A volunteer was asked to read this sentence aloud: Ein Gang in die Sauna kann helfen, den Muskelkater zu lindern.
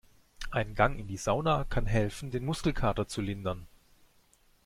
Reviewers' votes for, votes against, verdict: 2, 0, accepted